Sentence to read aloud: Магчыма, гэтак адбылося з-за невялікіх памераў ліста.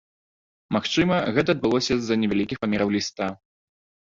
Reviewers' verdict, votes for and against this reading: rejected, 1, 2